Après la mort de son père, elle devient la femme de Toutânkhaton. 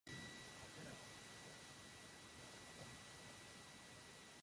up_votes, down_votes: 0, 2